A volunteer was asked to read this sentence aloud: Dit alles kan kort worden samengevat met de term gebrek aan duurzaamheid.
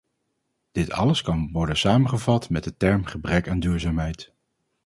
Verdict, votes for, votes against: rejected, 0, 4